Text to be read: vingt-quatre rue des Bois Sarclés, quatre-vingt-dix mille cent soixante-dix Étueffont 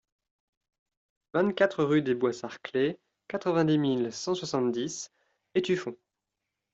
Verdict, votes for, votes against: accepted, 2, 0